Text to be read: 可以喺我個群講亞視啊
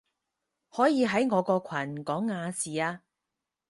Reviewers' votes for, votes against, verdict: 4, 0, accepted